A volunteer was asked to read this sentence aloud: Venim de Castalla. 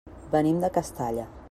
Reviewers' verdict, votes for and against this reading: accepted, 3, 0